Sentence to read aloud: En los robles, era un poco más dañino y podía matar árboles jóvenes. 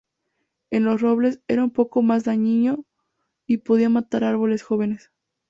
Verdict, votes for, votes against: accepted, 2, 0